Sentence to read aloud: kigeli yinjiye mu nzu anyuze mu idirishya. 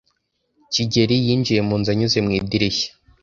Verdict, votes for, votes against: accepted, 2, 1